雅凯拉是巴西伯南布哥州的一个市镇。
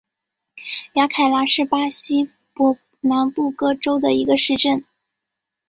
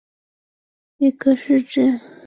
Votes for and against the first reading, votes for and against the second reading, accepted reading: 4, 0, 1, 2, first